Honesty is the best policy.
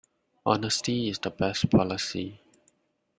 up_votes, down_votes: 2, 0